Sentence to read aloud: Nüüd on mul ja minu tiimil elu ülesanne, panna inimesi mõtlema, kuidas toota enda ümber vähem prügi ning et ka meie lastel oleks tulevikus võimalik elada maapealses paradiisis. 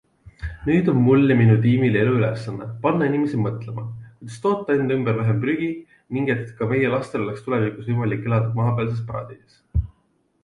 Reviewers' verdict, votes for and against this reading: accepted, 2, 0